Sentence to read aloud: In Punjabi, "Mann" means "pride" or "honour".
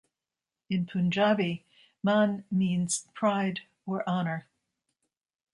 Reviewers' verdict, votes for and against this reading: accepted, 2, 0